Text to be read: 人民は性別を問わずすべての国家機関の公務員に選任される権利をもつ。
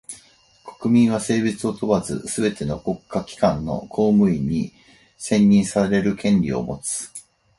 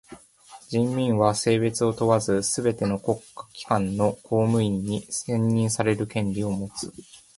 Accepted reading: second